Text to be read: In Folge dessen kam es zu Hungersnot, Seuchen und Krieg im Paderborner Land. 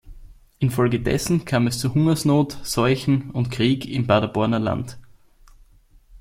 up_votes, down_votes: 2, 0